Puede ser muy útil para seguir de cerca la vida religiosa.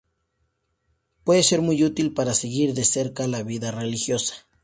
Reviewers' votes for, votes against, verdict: 2, 0, accepted